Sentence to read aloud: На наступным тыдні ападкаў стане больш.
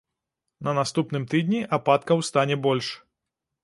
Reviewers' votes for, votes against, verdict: 2, 0, accepted